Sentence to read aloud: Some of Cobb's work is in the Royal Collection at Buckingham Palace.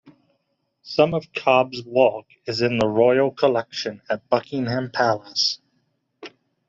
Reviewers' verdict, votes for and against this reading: rejected, 0, 2